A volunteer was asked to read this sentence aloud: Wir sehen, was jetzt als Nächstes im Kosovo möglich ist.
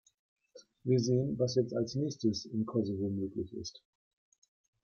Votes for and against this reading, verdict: 1, 2, rejected